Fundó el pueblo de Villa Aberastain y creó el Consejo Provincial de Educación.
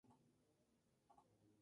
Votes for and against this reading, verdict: 0, 2, rejected